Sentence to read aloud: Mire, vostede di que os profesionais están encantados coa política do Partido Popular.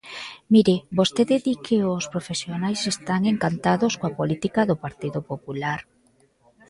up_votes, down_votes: 2, 1